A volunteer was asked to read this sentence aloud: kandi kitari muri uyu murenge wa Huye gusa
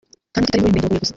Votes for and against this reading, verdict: 0, 2, rejected